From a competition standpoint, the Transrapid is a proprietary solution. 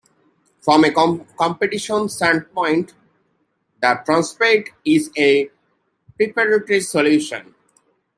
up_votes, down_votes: 1, 2